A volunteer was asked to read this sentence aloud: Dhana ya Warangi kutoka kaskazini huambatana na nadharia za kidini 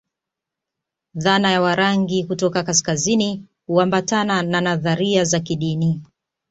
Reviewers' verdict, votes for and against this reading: accepted, 2, 0